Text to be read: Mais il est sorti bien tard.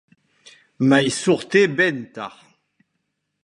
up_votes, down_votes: 0, 2